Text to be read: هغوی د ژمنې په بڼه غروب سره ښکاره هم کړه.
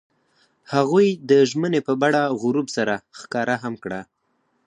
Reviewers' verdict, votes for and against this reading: accepted, 4, 0